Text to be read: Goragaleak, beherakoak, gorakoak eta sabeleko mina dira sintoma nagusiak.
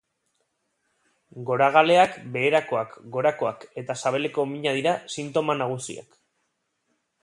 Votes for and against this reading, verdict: 3, 0, accepted